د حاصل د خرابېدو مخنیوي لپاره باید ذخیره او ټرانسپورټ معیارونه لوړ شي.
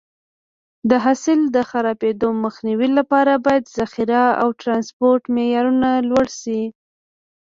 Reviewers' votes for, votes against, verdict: 0, 2, rejected